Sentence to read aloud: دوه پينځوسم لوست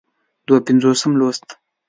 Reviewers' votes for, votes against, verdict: 2, 0, accepted